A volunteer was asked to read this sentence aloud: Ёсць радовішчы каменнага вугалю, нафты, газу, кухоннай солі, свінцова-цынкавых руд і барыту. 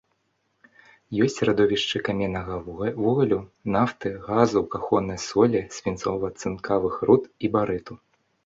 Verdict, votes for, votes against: rejected, 1, 2